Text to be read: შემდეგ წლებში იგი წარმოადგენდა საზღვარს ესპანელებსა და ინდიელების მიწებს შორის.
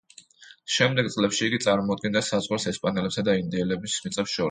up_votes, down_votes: 1, 3